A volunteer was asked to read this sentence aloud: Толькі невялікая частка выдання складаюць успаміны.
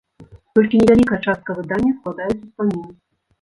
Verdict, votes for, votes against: rejected, 1, 2